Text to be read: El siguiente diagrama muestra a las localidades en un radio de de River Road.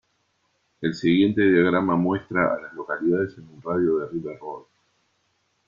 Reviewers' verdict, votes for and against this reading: rejected, 1, 2